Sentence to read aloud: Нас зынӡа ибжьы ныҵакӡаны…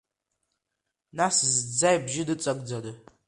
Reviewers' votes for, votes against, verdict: 1, 2, rejected